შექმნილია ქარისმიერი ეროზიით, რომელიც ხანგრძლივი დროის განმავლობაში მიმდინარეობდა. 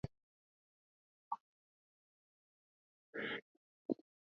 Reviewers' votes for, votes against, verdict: 0, 2, rejected